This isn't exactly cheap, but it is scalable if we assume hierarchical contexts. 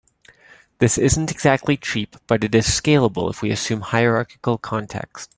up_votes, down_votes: 2, 0